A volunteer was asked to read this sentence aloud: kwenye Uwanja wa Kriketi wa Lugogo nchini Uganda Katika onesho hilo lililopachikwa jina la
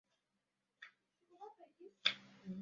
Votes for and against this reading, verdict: 0, 2, rejected